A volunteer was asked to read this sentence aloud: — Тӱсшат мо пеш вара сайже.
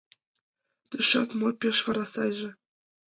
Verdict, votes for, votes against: accepted, 2, 1